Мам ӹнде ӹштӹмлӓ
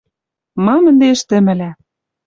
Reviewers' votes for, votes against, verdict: 0, 2, rejected